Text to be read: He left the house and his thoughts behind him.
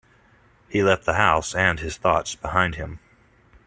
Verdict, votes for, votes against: accepted, 2, 0